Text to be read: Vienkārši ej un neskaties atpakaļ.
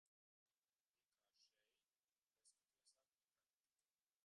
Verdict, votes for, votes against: rejected, 0, 3